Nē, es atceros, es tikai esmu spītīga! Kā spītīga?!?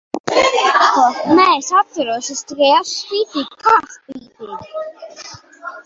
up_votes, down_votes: 1, 2